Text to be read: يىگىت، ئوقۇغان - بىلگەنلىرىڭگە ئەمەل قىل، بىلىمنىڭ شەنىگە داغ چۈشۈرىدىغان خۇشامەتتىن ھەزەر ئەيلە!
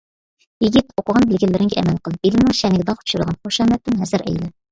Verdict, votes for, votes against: rejected, 0, 2